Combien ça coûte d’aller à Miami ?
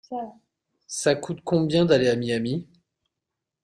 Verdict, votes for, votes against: rejected, 0, 2